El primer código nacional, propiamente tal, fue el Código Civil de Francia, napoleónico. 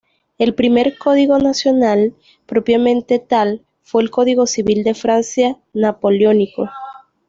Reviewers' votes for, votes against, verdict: 2, 1, accepted